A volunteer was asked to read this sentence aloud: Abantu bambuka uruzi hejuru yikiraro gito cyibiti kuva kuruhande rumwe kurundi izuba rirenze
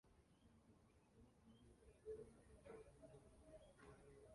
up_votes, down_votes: 0, 2